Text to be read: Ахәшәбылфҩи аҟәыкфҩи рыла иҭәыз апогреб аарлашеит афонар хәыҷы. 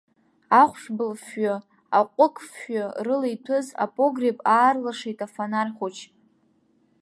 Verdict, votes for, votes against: rejected, 0, 2